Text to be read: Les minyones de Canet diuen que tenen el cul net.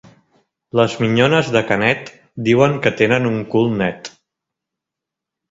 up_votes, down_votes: 0, 2